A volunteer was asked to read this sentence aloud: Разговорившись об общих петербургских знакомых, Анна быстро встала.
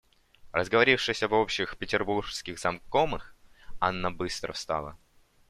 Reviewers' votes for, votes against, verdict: 1, 2, rejected